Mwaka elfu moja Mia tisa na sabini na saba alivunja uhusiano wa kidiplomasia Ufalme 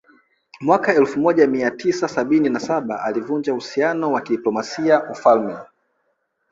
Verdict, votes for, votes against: rejected, 1, 2